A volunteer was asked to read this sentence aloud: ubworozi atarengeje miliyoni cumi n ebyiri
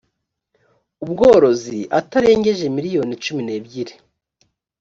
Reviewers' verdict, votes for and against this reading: accepted, 3, 0